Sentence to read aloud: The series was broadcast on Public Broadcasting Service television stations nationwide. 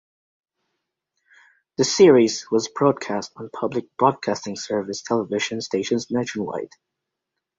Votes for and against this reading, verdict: 0, 2, rejected